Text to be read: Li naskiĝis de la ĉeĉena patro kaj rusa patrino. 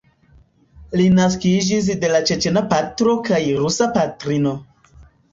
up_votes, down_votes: 1, 2